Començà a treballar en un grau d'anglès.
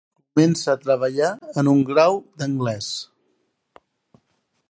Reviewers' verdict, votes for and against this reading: rejected, 1, 2